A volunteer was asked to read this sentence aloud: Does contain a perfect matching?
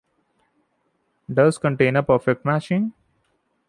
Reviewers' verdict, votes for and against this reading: accepted, 2, 1